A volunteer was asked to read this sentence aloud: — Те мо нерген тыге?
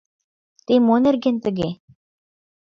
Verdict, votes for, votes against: accepted, 2, 0